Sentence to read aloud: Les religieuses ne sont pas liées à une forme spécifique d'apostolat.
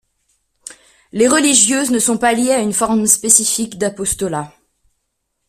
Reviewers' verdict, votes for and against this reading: accepted, 2, 0